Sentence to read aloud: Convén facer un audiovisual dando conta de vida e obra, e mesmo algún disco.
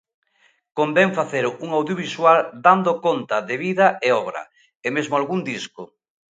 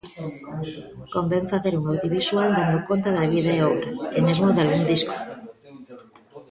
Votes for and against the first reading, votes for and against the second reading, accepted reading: 2, 0, 0, 2, first